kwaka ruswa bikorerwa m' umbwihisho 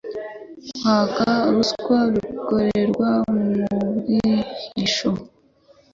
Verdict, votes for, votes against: accepted, 3, 0